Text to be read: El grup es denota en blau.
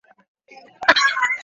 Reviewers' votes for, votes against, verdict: 0, 2, rejected